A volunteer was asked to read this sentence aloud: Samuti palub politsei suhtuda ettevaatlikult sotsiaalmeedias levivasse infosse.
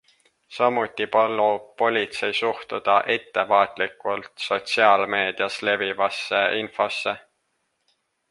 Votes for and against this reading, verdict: 1, 2, rejected